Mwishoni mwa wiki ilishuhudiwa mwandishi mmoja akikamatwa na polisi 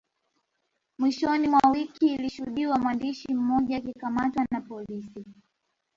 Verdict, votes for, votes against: rejected, 1, 2